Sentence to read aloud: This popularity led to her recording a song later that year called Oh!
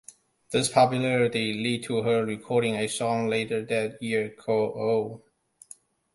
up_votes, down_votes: 2, 0